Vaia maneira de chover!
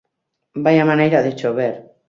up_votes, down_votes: 2, 0